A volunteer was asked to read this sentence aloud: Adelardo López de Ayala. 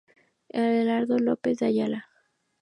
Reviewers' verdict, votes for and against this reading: accepted, 4, 0